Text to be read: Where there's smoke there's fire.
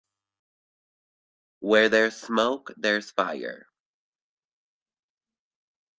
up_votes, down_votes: 3, 0